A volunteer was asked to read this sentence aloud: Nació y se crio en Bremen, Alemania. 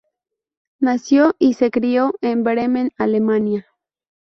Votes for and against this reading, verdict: 4, 0, accepted